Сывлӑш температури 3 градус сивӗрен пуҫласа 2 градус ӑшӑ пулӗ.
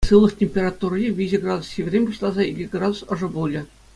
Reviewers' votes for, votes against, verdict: 0, 2, rejected